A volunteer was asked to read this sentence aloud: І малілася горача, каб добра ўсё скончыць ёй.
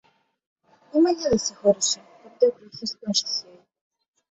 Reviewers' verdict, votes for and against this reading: rejected, 0, 2